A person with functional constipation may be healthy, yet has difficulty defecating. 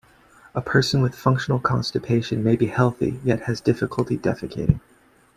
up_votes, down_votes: 2, 1